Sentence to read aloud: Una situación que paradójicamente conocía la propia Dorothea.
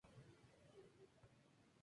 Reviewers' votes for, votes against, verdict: 0, 2, rejected